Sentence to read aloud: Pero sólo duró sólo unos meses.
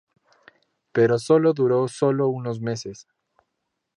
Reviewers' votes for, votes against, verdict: 4, 0, accepted